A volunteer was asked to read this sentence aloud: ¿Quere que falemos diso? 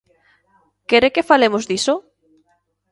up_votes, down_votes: 2, 0